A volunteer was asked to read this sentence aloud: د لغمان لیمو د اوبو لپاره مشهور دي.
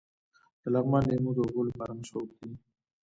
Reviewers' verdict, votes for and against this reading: rejected, 0, 2